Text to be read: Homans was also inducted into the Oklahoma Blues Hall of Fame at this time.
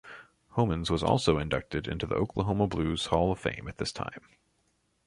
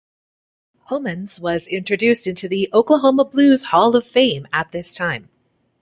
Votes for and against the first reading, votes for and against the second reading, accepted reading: 2, 0, 1, 2, first